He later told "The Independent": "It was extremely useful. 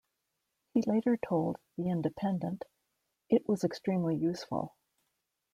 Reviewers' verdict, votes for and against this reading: accepted, 2, 0